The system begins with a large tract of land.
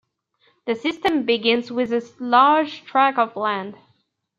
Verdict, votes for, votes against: rejected, 1, 2